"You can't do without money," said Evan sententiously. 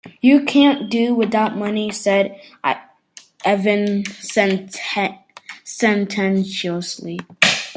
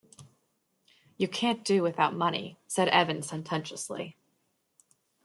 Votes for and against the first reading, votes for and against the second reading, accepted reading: 0, 2, 2, 0, second